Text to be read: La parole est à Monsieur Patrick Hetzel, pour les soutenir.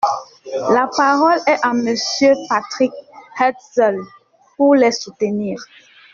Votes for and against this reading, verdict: 2, 1, accepted